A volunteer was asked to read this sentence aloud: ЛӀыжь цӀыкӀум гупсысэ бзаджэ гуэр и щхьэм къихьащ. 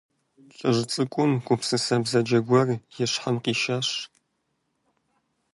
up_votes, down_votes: 0, 2